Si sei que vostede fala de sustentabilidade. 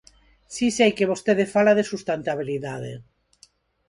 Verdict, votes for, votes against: rejected, 0, 4